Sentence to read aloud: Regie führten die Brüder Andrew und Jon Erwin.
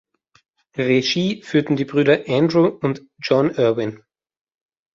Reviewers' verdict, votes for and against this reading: accepted, 2, 0